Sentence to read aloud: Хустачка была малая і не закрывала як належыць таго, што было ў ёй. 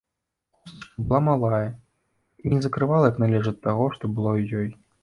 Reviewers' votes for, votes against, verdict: 1, 2, rejected